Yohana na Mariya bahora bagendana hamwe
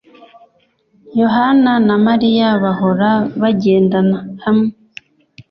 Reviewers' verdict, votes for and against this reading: accepted, 2, 0